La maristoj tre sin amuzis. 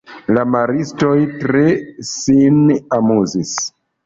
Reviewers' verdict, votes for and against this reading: rejected, 0, 2